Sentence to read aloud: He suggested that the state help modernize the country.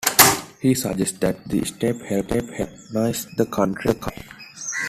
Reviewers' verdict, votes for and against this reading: rejected, 0, 2